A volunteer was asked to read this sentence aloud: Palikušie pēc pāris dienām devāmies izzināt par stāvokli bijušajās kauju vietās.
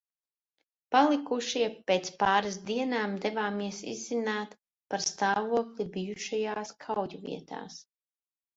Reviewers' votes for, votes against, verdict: 2, 0, accepted